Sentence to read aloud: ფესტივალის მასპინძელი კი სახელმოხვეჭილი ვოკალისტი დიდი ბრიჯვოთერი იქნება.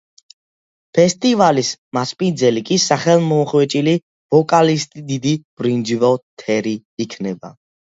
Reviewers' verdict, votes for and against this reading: rejected, 1, 2